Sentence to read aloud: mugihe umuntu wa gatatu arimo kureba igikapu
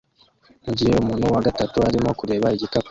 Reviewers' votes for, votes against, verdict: 1, 2, rejected